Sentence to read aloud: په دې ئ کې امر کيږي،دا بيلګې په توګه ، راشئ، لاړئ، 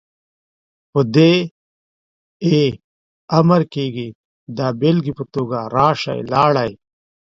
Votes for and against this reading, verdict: 2, 0, accepted